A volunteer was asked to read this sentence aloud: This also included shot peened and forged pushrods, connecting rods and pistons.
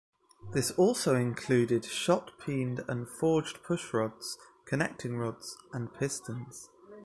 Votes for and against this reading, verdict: 0, 2, rejected